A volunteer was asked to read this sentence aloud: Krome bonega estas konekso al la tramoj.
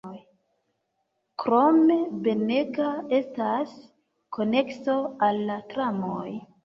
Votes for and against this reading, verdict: 1, 2, rejected